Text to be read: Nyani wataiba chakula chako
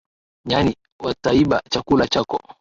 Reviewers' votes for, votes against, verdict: 2, 0, accepted